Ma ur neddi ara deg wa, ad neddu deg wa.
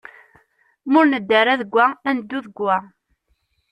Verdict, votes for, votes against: accepted, 2, 0